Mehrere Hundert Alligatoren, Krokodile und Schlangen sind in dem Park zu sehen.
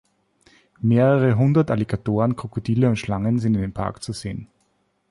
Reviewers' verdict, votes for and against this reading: accepted, 2, 0